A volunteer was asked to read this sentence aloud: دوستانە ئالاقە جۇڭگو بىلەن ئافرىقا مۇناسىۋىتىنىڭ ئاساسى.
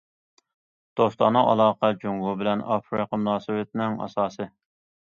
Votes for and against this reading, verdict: 2, 0, accepted